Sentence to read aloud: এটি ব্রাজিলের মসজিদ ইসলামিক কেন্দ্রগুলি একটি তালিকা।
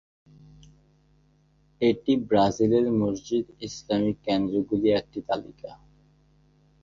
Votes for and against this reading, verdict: 0, 2, rejected